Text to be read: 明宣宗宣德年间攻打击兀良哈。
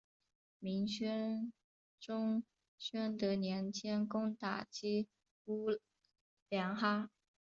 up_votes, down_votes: 0, 2